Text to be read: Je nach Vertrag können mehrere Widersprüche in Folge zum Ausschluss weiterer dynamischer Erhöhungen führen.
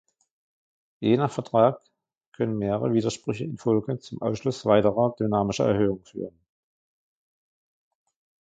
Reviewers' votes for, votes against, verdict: 0, 2, rejected